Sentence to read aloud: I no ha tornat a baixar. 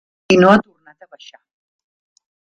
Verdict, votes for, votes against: rejected, 0, 2